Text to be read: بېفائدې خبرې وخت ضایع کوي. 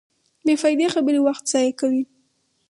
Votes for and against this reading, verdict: 2, 2, rejected